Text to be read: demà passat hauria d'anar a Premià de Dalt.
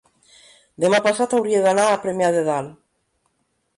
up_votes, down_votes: 0, 2